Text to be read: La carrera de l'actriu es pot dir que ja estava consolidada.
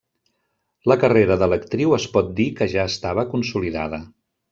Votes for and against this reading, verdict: 3, 0, accepted